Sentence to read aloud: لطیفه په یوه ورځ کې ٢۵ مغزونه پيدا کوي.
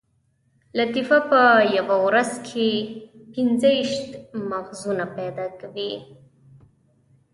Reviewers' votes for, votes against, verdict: 0, 2, rejected